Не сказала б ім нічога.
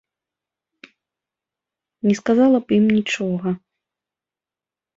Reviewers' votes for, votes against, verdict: 2, 0, accepted